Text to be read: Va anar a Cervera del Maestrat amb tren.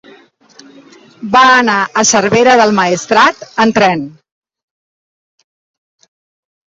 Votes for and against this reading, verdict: 3, 0, accepted